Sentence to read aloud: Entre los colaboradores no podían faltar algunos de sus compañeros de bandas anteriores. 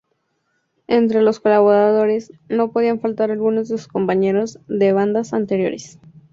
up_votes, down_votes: 6, 0